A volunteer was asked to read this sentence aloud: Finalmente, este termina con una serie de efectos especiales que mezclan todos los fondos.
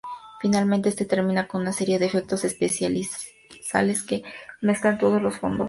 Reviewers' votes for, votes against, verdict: 0, 2, rejected